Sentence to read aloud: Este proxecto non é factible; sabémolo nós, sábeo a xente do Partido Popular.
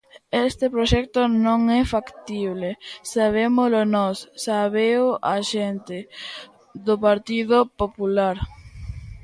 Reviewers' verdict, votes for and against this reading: rejected, 0, 2